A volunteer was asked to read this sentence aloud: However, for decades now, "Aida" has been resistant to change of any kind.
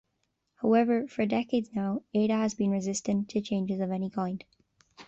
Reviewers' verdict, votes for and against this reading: accepted, 2, 1